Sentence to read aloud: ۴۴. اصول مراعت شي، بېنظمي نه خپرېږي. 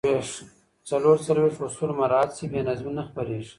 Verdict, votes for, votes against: rejected, 0, 2